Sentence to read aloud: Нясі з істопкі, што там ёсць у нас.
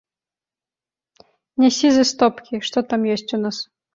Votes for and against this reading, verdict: 2, 0, accepted